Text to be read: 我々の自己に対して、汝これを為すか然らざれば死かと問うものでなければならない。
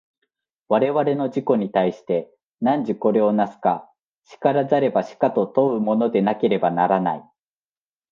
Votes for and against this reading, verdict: 2, 0, accepted